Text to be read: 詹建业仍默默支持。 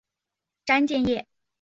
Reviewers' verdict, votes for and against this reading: rejected, 0, 3